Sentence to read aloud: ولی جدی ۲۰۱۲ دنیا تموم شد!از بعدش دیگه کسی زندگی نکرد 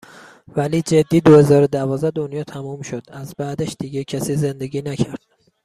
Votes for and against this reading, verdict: 0, 2, rejected